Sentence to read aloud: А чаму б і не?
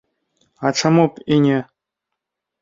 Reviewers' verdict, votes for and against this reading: accepted, 2, 0